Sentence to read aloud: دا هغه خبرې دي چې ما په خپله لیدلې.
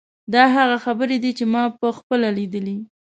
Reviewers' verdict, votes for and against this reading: accepted, 2, 0